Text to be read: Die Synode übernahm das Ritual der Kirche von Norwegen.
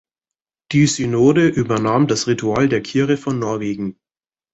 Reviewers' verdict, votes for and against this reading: rejected, 1, 2